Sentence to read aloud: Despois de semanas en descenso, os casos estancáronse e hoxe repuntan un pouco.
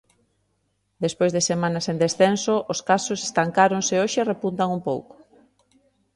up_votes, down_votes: 2, 0